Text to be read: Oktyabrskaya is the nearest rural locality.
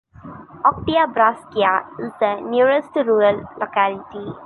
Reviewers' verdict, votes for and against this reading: accepted, 2, 0